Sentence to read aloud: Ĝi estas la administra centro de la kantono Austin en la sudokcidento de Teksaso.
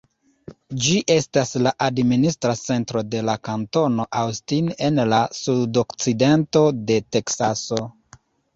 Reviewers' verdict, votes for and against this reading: rejected, 0, 2